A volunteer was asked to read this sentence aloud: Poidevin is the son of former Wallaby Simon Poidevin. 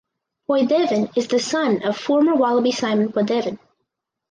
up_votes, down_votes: 4, 0